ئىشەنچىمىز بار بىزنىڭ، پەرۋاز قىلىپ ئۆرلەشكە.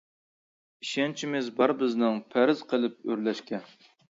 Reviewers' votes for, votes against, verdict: 0, 2, rejected